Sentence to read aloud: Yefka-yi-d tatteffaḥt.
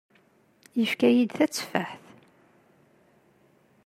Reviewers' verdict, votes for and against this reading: accepted, 2, 0